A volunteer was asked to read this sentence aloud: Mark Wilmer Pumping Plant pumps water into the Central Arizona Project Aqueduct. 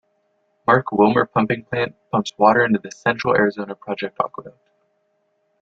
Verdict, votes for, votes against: accepted, 2, 0